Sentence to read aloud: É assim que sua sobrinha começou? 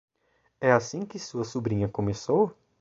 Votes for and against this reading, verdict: 2, 0, accepted